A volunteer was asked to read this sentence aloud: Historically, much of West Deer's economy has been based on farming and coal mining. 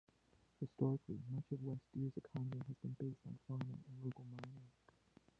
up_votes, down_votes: 0, 2